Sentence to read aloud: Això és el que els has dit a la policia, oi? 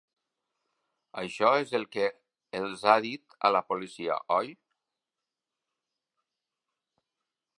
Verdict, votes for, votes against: rejected, 0, 2